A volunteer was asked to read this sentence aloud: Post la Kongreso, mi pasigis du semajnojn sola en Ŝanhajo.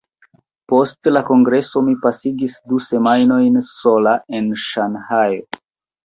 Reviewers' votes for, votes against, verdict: 2, 1, accepted